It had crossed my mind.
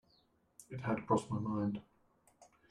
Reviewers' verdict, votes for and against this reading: accepted, 2, 1